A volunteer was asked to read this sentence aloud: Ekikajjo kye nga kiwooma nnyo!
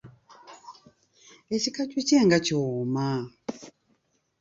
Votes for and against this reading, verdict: 0, 2, rejected